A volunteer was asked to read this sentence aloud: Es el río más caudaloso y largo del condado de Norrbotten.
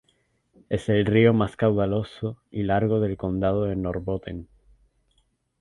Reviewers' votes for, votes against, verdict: 2, 0, accepted